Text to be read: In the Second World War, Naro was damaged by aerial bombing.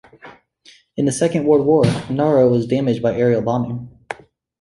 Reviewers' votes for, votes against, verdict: 3, 0, accepted